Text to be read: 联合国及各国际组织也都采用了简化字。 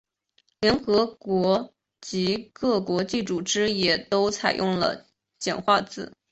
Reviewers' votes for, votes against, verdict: 4, 0, accepted